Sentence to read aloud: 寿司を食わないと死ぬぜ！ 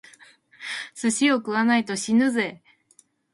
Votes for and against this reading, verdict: 2, 0, accepted